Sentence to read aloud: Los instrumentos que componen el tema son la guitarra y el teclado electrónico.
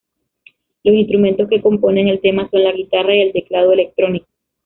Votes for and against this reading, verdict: 0, 2, rejected